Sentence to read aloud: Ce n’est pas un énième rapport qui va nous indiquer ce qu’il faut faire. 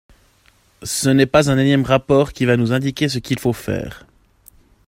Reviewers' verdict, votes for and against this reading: accepted, 2, 0